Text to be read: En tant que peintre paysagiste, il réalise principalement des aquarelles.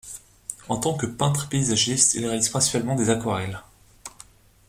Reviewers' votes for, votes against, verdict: 2, 0, accepted